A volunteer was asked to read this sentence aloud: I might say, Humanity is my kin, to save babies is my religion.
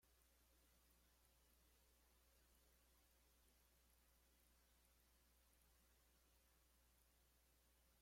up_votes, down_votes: 0, 2